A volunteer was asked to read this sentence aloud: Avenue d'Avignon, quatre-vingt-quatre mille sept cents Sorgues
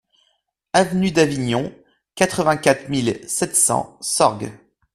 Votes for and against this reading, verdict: 2, 0, accepted